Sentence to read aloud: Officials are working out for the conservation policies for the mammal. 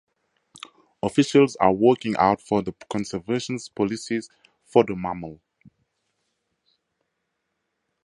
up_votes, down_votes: 0, 2